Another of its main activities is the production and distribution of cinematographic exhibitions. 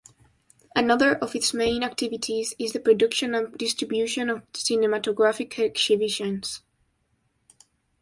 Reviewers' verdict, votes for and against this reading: rejected, 0, 2